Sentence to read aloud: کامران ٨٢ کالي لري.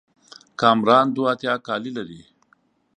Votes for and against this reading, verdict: 0, 2, rejected